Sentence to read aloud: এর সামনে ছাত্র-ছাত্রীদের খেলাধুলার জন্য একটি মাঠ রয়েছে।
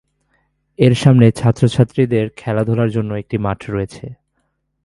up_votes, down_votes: 2, 0